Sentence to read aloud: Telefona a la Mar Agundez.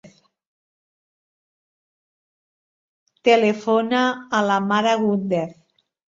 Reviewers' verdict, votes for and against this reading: rejected, 1, 2